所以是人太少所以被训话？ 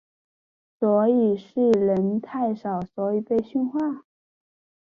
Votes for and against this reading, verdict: 4, 1, accepted